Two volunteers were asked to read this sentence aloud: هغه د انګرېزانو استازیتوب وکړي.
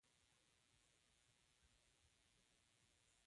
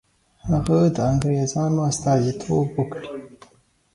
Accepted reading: second